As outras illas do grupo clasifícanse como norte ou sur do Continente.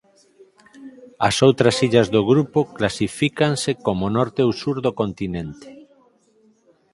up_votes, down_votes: 4, 0